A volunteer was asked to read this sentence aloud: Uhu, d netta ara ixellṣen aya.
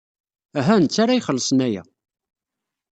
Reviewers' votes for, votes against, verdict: 2, 0, accepted